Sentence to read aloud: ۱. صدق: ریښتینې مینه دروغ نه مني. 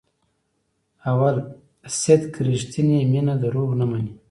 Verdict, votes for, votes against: rejected, 0, 2